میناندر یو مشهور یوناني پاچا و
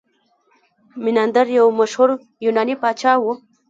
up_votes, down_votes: 0, 2